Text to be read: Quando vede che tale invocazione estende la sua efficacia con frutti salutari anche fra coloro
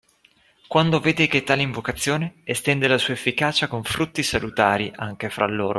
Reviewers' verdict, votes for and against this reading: rejected, 0, 2